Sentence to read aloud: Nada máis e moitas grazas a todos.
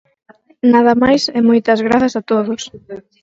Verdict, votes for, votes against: accepted, 4, 2